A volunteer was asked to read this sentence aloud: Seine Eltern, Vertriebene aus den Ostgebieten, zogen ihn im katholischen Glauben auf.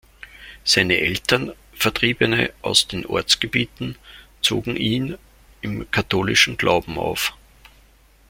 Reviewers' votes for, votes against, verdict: 0, 2, rejected